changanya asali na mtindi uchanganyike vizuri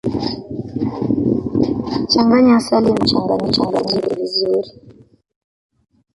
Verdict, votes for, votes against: rejected, 1, 2